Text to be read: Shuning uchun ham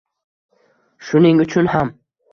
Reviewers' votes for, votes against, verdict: 2, 0, accepted